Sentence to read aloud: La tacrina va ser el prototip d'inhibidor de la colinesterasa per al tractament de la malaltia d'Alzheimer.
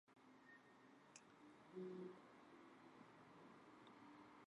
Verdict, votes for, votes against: rejected, 1, 2